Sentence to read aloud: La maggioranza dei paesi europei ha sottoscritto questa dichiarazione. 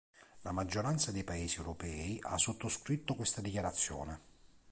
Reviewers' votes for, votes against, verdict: 2, 0, accepted